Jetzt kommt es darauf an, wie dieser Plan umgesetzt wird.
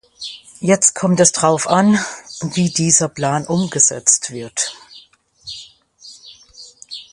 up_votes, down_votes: 0, 2